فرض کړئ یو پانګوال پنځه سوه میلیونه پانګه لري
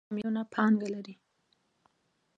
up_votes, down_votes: 1, 2